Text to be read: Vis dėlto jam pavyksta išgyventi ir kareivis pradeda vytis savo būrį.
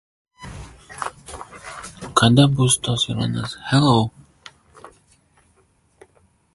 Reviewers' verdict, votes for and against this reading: rejected, 0, 2